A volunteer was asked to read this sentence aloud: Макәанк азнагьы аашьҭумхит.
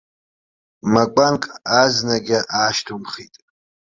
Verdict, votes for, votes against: accepted, 2, 0